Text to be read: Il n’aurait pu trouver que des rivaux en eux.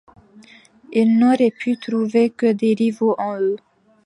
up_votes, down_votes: 2, 1